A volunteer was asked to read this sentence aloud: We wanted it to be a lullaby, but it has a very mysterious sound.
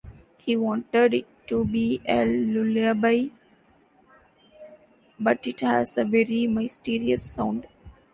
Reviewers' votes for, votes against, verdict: 0, 2, rejected